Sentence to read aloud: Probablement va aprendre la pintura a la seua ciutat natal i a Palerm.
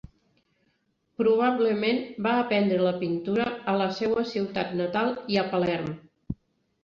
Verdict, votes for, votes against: accepted, 4, 1